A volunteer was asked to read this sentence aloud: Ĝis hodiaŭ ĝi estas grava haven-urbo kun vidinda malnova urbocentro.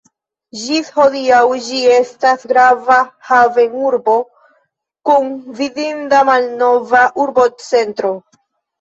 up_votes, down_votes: 0, 2